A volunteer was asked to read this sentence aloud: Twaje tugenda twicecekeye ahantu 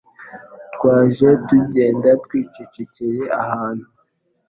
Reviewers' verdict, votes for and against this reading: accepted, 2, 0